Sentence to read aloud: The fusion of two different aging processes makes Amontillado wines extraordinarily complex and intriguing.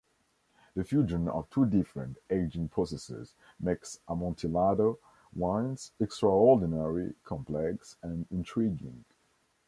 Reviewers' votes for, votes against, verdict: 2, 0, accepted